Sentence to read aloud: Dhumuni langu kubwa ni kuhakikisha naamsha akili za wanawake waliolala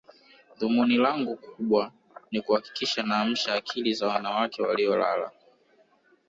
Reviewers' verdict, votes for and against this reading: rejected, 1, 2